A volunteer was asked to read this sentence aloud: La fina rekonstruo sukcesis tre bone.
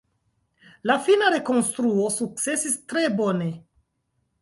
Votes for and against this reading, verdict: 2, 0, accepted